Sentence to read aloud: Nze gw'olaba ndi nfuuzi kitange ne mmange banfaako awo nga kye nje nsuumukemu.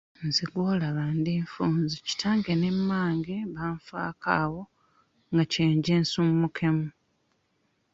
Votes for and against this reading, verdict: 0, 2, rejected